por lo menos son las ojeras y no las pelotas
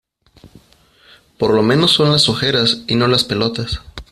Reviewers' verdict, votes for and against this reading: accepted, 2, 0